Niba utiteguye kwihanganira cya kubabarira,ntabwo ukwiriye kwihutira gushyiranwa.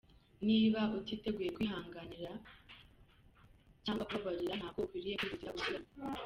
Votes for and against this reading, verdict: 0, 2, rejected